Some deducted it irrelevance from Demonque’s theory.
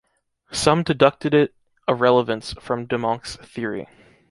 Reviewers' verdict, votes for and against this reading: rejected, 0, 2